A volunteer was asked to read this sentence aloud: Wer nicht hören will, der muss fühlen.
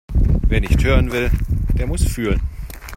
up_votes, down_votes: 2, 1